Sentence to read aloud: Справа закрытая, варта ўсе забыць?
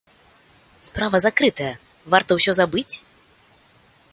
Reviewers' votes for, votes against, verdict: 2, 0, accepted